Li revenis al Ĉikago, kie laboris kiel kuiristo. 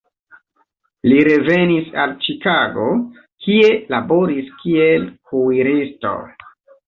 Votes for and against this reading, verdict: 2, 0, accepted